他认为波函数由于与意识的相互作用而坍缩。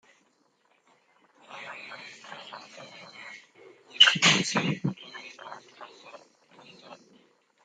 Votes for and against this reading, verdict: 0, 2, rejected